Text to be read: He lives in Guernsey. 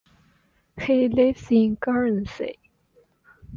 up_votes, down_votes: 2, 0